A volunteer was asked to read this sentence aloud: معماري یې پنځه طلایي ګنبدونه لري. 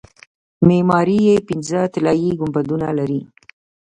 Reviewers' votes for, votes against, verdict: 3, 0, accepted